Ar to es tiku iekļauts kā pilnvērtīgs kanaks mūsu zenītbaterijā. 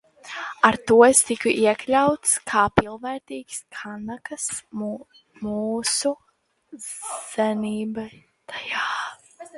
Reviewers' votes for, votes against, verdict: 0, 2, rejected